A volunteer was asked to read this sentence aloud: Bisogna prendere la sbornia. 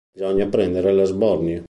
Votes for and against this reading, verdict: 0, 2, rejected